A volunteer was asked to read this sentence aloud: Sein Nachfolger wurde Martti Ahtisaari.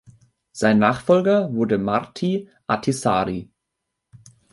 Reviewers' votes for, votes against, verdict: 2, 0, accepted